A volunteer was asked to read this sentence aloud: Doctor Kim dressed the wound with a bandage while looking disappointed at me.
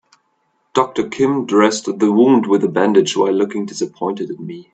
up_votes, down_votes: 2, 0